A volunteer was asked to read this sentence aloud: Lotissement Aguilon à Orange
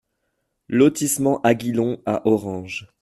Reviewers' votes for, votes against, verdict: 2, 0, accepted